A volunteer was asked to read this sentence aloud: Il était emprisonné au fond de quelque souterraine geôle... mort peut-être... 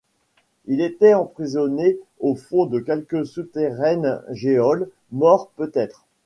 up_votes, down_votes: 1, 2